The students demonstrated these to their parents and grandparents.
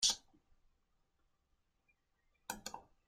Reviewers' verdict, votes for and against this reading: rejected, 0, 2